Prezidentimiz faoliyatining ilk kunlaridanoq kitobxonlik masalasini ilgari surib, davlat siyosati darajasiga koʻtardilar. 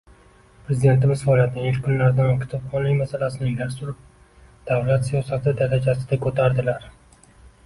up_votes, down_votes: 1, 2